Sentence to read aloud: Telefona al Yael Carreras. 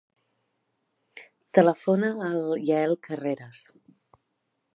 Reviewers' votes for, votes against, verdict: 2, 0, accepted